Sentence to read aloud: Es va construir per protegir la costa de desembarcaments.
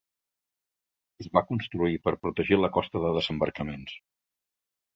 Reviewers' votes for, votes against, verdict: 3, 0, accepted